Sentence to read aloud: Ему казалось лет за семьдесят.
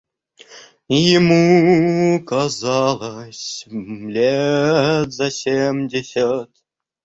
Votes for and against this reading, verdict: 0, 2, rejected